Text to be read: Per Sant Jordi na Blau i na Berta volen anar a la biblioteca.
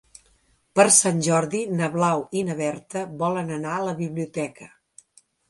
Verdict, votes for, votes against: accepted, 3, 0